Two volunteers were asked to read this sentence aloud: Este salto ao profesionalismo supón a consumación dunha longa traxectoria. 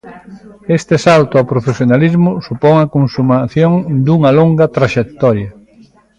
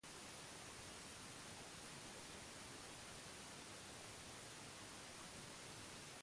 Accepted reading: first